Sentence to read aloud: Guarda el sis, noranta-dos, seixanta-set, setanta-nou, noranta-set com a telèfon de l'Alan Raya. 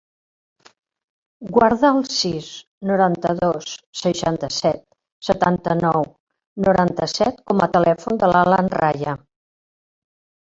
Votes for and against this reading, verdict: 3, 1, accepted